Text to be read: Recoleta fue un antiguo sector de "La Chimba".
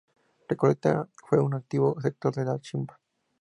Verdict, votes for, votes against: accepted, 2, 0